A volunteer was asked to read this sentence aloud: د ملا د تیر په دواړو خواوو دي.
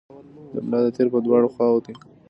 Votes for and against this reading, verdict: 2, 0, accepted